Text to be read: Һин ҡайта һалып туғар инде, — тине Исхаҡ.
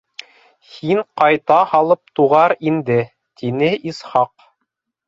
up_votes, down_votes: 3, 0